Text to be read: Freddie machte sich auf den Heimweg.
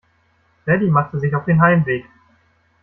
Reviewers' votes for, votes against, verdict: 2, 0, accepted